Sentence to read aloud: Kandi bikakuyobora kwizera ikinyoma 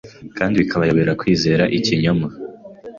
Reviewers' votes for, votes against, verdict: 2, 1, accepted